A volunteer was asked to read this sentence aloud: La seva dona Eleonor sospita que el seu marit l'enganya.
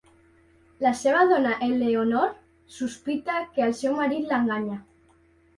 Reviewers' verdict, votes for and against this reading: accepted, 2, 0